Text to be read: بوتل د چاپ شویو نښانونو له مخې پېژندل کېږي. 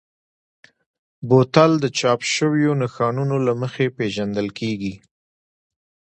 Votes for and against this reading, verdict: 2, 0, accepted